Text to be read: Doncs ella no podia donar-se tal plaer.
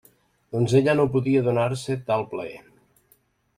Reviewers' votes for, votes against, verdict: 3, 0, accepted